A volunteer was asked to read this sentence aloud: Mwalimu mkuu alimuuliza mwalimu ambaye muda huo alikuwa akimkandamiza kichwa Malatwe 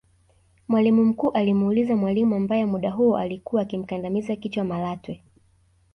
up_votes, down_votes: 1, 2